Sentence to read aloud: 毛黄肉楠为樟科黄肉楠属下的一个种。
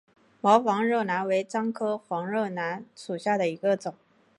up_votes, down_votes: 2, 0